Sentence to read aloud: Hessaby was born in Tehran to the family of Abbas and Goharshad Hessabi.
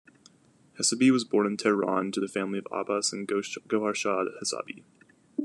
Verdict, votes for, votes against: accepted, 2, 0